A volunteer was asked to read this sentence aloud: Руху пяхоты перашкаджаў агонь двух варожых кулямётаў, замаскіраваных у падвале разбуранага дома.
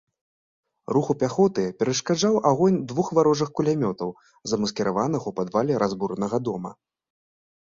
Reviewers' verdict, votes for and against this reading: accepted, 2, 0